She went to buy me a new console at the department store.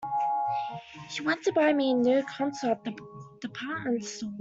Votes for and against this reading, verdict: 1, 2, rejected